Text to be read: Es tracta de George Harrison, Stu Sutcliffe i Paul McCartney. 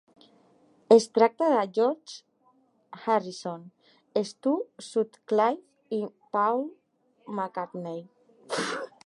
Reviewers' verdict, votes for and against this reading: rejected, 0, 3